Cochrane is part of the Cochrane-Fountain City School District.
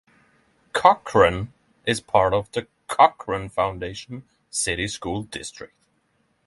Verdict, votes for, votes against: rejected, 3, 3